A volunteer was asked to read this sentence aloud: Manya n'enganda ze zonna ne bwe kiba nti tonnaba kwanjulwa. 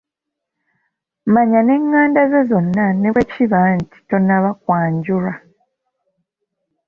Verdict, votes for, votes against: accepted, 2, 0